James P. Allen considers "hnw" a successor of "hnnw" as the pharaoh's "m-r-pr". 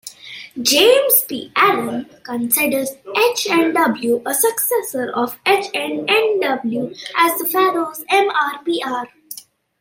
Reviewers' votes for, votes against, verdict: 2, 0, accepted